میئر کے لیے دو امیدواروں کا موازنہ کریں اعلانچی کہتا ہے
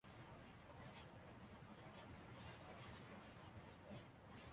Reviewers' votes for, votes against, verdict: 0, 3, rejected